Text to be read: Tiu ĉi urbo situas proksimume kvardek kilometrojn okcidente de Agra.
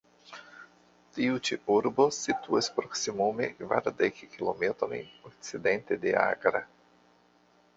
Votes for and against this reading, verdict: 2, 1, accepted